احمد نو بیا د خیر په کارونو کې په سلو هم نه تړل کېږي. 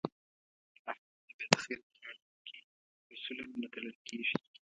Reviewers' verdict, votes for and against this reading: rejected, 0, 2